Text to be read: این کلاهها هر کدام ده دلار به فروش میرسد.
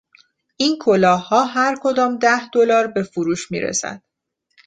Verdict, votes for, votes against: accepted, 2, 0